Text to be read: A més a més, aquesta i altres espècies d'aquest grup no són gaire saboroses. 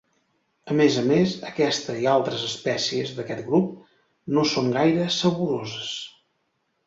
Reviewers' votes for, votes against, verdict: 2, 0, accepted